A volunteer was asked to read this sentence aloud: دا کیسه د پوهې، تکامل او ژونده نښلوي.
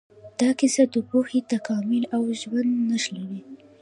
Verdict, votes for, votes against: accepted, 3, 0